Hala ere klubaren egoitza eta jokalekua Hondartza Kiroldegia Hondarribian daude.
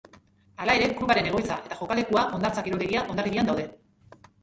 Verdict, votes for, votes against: rejected, 0, 3